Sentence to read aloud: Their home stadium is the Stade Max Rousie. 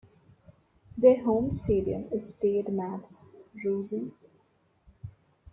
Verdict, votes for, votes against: rejected, 0, 2